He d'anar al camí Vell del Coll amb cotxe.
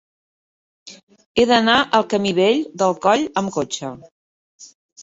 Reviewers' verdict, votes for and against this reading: accepted, 3, 0